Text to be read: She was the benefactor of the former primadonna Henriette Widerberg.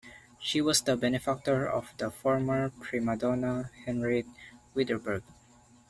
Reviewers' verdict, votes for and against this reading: rejected, 0, 2